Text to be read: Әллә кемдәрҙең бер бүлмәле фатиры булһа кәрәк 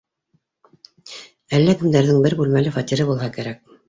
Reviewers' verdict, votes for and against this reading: accepted, 2, 0